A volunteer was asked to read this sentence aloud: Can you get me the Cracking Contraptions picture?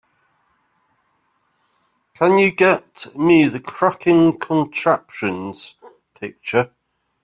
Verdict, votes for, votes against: accepted, 2, 1